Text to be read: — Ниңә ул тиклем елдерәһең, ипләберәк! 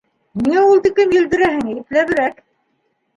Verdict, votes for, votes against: accepted, 2, 1